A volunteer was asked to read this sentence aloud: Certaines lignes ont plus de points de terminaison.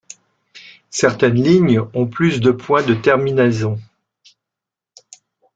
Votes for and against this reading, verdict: 1, 3, rejected